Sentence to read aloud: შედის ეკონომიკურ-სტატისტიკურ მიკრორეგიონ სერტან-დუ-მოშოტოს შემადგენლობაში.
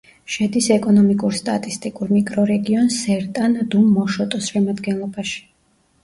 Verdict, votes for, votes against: rejected, 1, 2